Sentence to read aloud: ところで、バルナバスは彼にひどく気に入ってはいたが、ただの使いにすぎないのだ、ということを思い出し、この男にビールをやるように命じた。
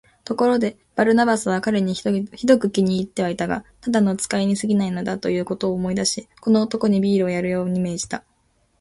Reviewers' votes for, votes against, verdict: 1, 2, rejected